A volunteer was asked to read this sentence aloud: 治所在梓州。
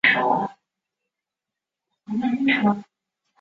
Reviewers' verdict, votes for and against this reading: rejected, 0, 2